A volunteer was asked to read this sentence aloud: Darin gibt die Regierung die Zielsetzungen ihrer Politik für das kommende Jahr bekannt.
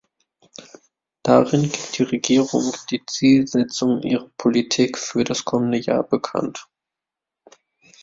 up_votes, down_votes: 0, 2